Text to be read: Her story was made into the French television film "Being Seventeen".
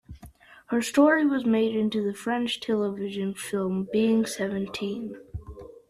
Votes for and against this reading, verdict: 2, 0, accepted